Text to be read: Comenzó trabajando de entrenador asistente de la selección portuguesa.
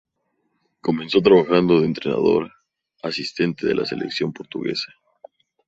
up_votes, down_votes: 2, 0